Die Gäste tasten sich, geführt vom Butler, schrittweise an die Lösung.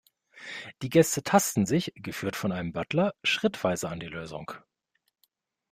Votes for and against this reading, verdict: 0, 2, rejected